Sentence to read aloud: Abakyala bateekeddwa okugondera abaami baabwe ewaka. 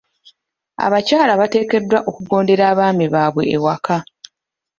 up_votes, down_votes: 2, 0